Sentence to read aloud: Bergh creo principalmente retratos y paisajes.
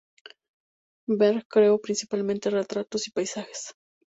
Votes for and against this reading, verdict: 4, 0, accepted